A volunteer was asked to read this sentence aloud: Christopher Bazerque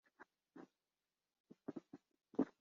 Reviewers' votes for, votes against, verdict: 1, 2, rejected